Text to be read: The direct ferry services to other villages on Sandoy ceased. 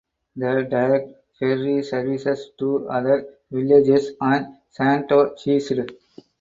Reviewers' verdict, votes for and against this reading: accepted, 4, 0